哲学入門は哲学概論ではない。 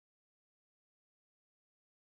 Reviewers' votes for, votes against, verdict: 1, 2, rejected